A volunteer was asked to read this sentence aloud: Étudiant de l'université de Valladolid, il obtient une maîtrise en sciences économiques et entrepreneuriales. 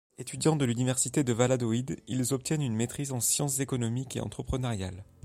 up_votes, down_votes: 0, 2